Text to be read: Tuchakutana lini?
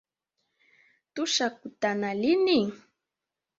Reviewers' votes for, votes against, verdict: 0, 2, rejected